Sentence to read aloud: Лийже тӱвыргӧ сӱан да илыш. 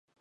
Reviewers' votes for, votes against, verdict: 1, 2, rejected